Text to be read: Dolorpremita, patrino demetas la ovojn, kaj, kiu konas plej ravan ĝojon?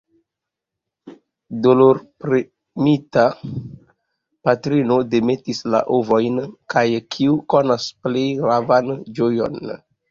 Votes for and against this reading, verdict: 2, 0, accepted